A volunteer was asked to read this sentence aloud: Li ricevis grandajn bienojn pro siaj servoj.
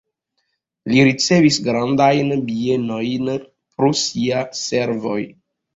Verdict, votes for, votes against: rejected, 1, 2